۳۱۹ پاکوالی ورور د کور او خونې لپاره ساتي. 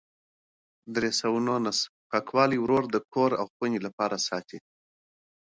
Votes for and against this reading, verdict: 0, 2, rejected